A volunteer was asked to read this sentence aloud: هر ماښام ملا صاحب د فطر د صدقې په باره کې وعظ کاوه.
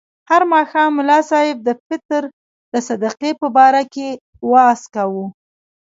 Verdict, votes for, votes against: rejected, 0, 2